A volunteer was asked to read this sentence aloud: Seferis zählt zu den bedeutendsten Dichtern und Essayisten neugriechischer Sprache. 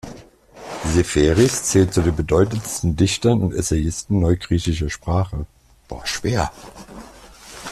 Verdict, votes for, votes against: rejected, 1, 2